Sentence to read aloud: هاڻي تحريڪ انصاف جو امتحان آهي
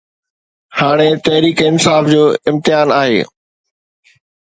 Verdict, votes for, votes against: accepted, 2, 0